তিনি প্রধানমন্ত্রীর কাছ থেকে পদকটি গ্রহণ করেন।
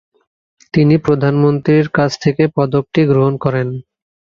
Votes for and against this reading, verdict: 2, 0, accepted